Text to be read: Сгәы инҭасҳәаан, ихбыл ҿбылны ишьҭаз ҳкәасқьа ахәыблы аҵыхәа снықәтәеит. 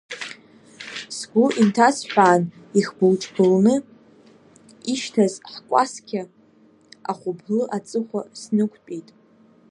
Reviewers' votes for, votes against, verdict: 2, 0, accepted